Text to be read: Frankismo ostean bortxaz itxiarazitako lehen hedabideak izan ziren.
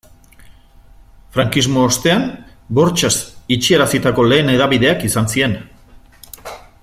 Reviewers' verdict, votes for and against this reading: accepted, 2, 1